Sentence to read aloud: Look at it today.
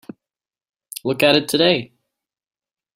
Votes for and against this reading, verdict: 3, 0, accepted